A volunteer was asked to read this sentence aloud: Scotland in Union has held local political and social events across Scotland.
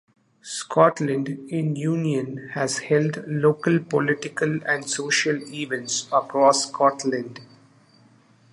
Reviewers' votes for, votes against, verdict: 2, 0, accepted